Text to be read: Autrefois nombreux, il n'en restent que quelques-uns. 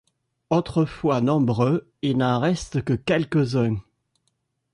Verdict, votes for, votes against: rejected, 1, 2